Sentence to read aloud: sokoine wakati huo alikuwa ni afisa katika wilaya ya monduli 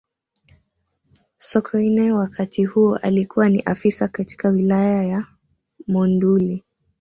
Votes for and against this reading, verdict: 1, 2, rejected